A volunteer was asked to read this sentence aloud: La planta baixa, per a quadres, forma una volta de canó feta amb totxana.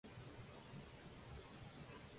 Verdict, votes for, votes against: rejected, 0, 2